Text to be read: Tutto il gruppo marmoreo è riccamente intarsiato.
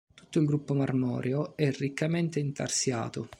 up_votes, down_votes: 1, 2